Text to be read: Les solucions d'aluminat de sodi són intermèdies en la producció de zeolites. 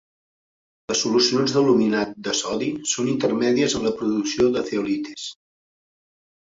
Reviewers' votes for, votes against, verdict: 1, 2, rejected